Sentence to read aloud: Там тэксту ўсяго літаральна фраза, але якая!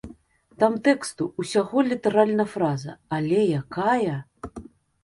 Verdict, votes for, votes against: accepted, 2, 0